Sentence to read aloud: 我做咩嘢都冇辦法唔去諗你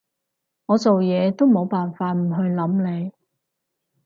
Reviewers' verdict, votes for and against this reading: rejected, 2, 4